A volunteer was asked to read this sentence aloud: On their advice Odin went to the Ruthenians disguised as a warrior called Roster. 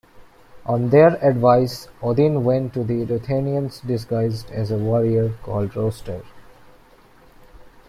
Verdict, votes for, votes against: accepted, 2, 0